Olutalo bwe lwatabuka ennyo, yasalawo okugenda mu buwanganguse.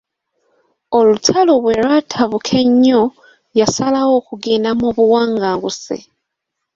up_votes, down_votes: 3, 0